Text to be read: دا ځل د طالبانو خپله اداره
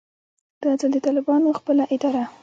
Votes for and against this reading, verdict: 2, 0, accepted